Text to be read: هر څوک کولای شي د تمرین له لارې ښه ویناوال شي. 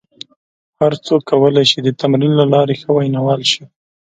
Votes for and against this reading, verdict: 2, 0, accepted